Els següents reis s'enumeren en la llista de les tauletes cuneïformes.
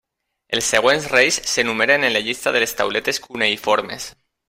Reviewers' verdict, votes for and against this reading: accepted, 3, 0